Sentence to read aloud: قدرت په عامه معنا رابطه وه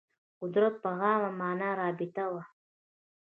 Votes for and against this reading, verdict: 2, 1, accepted